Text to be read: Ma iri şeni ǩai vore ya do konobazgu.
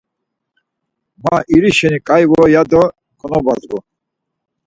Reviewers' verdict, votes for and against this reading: accepted, 4, 0